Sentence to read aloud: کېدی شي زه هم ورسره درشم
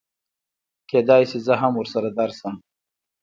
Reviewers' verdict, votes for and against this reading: rejected, 1, 2